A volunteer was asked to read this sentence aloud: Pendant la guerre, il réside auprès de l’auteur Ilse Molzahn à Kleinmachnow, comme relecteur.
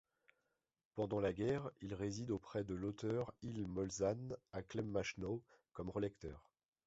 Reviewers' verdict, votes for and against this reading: rejected, 1, 2